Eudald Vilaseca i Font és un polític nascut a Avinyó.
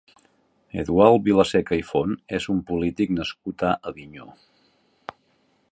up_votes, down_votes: 1, 2